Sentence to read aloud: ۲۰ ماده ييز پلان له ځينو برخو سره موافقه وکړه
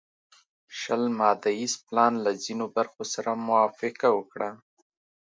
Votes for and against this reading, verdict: 0, 2, rejected